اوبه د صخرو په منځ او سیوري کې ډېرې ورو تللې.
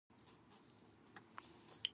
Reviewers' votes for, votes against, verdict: 0, 4, rejected